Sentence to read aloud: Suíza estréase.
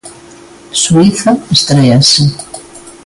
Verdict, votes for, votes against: accepted, 2, 0